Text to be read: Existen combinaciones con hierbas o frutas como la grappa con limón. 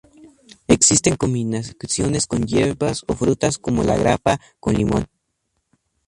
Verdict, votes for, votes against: rejected, 0, 2